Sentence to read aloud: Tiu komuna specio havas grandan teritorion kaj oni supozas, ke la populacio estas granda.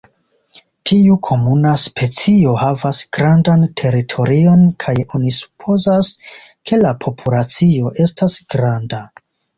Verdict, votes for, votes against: accepted, 2, 0